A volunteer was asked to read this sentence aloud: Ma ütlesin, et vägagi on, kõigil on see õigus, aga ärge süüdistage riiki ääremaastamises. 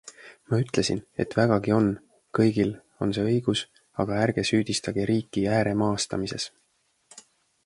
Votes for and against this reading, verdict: 2, 0, accepted